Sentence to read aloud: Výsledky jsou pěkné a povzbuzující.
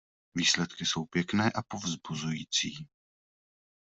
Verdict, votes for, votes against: accepted, 2, 0